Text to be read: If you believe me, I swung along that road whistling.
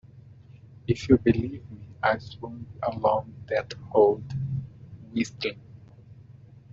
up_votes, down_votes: 1, 2